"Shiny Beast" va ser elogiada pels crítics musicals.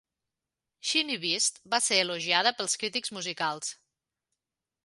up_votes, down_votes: 1, 2